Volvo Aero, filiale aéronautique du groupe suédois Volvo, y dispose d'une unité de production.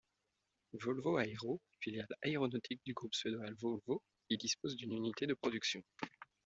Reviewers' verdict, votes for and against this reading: rejected, 1, 2